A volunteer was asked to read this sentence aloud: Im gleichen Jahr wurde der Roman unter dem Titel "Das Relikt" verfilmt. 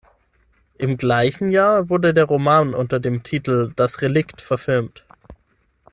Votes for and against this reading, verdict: 6, 0, accepted